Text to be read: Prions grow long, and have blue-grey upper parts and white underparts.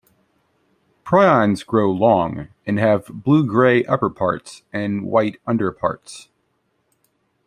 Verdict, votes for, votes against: accepted, 2, 0